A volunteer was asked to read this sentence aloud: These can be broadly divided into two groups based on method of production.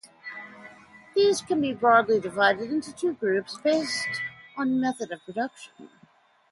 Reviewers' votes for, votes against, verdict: 2, 0, accepted